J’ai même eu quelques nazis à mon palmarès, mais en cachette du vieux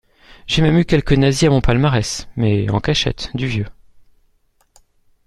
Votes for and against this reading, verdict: 2, 1, accepted